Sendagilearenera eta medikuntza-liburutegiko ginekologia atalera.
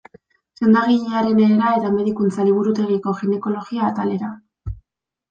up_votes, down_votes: 1, 2